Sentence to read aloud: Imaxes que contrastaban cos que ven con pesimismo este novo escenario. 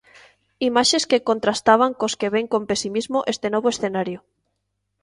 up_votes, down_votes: 2, 0